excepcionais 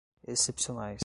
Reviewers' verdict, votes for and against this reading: accepted, 2, 0